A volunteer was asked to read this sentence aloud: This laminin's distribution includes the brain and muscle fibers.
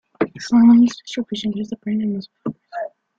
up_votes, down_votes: 1, 3